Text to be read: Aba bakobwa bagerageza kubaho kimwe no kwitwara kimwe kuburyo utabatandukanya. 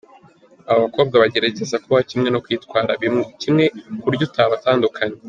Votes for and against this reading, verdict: 0, 2, rejected